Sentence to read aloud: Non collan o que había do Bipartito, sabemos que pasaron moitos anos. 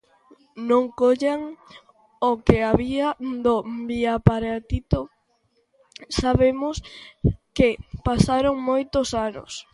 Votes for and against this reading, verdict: 0, 2, rejected